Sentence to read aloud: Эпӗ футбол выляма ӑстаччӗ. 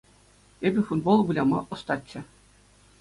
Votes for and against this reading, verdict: 2, 0, accepted